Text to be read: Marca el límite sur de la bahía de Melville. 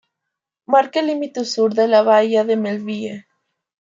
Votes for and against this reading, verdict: 1, 2, rejected